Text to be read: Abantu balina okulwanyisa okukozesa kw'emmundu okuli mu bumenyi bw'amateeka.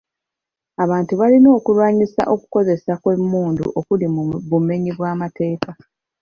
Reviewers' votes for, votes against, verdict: 4, 2, accepted